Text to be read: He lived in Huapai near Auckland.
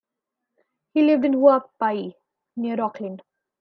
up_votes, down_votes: 2, 0